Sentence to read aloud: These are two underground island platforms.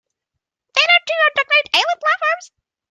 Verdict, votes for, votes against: rejected, 0, 2